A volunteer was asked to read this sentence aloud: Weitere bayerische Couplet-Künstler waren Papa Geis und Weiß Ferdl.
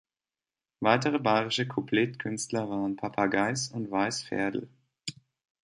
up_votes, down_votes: 2, 0